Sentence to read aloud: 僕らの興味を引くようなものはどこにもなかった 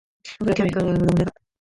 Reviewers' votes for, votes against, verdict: 0, 2, rejected